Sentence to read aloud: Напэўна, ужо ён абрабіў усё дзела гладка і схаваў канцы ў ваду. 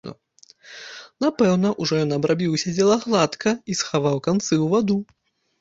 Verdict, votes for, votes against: accepted, 3, 1